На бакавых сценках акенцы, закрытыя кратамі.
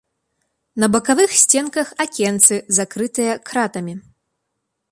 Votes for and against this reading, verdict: 3, 0, accepted